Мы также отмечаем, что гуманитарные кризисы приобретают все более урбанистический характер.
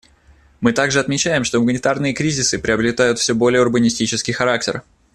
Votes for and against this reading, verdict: 2, 0, accepted